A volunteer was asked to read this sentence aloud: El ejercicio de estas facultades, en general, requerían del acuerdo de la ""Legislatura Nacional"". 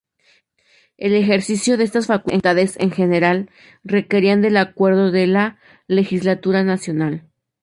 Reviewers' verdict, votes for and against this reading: rejected, 2, 2